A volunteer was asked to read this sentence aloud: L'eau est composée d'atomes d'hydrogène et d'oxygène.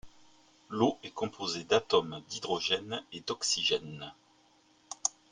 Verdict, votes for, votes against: accepted, 4, 0